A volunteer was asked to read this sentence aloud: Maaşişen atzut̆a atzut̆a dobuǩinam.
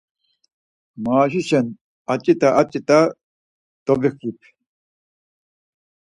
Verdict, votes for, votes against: accepted, 4, 0